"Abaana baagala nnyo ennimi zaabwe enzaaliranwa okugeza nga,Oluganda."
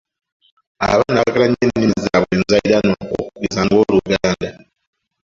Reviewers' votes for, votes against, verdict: 2, 0, accepted